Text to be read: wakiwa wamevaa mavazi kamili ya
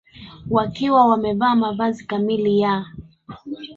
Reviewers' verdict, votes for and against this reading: accepted, 2, 0